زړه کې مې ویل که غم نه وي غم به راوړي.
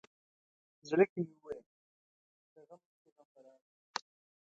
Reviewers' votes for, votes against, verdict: 0, 2, rejected